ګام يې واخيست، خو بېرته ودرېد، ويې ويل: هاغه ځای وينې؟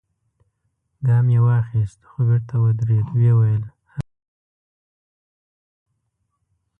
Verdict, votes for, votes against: rejected, 0, 2